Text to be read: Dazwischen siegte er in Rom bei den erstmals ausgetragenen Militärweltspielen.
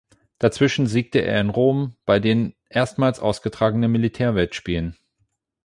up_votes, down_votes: 8, 0